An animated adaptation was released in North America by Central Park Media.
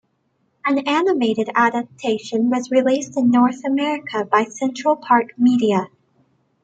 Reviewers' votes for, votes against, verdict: 2, 0, accepted